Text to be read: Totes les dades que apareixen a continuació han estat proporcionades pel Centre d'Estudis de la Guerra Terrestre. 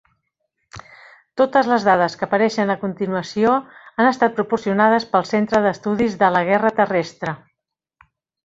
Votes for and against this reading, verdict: 3, 0, accepted